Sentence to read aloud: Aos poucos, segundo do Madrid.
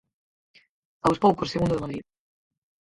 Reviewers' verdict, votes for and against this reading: rejected, 0, 4